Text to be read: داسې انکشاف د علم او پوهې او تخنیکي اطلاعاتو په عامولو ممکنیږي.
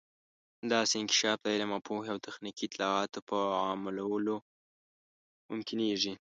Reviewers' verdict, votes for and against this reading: accepted, 2, 0